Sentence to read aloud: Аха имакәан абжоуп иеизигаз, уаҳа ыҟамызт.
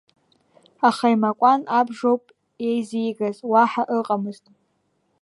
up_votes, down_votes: 2, 0